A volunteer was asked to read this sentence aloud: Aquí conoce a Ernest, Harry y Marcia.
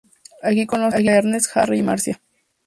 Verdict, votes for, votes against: rejected, 0, 2